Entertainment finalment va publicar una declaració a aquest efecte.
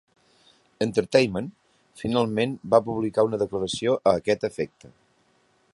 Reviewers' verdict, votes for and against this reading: accepted, 4, 0